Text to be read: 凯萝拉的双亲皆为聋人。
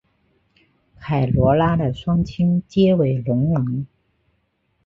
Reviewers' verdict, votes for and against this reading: accepted, 2, 0